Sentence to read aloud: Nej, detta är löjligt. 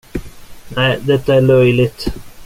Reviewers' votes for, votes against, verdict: 2, 0, accepted